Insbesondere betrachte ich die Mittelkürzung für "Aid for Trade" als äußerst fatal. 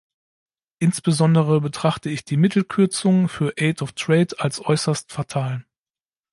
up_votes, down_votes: 1, 2